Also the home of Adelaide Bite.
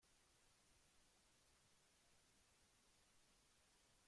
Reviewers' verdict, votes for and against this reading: rejected, 0, 2